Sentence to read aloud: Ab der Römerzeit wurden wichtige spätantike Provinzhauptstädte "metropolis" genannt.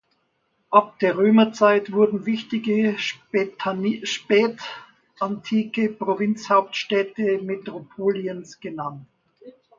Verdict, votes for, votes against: rejected, 0, 2